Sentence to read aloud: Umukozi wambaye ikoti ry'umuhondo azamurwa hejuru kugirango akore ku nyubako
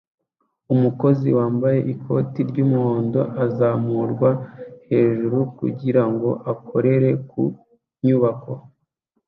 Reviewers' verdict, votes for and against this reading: rejected, 0, 2